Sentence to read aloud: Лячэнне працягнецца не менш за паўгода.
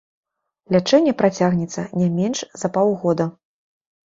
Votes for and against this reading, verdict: 2, 0, accepted